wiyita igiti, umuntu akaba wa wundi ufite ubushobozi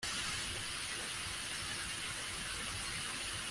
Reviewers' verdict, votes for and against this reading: rejected, 0, 2